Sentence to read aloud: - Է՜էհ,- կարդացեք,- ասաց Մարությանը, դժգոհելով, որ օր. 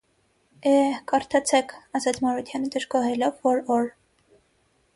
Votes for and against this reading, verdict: 6, 0, accepted